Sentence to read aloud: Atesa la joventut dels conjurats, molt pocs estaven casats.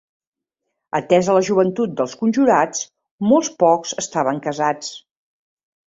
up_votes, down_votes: 0, 2